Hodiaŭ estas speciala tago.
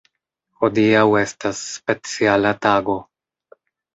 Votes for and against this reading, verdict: 2, 0, accepted